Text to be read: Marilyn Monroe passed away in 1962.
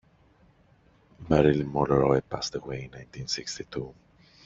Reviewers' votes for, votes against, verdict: 0, 2, rejected